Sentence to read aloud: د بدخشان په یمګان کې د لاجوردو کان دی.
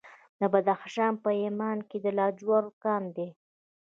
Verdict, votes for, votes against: rejected, 0, 2